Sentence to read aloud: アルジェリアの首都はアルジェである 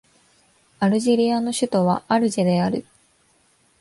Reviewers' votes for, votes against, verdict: 2, 1, accepted